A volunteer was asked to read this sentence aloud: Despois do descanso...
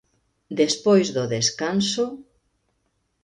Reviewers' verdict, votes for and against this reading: accepted, 2, 0